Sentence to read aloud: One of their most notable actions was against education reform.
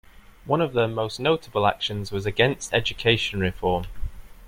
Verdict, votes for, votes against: accepted, 2, 0